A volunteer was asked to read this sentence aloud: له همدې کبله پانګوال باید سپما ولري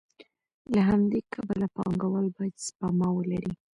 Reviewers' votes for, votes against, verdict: 2, 0, accepted